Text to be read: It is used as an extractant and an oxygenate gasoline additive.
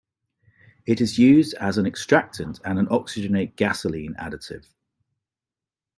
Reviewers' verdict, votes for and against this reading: accepted, 2, 0